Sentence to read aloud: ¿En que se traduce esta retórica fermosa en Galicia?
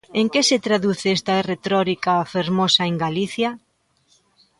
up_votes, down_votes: 0, 2